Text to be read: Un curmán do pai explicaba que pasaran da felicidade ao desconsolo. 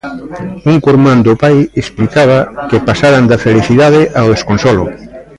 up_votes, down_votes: 1, 2